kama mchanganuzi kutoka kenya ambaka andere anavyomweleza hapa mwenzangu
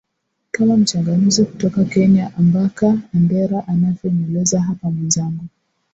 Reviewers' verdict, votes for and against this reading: rejected, 0, 2